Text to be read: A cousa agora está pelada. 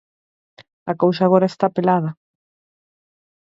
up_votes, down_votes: 4, 0